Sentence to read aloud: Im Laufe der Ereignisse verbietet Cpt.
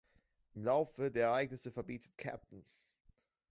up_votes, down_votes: 0, 2